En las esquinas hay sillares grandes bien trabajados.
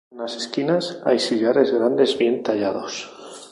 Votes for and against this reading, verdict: 2, 0, accepted